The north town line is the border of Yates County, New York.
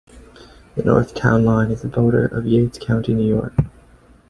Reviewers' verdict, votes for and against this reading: accepted, 2, 0